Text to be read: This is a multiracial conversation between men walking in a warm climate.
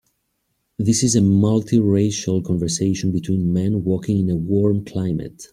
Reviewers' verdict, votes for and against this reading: accepted, 2, 0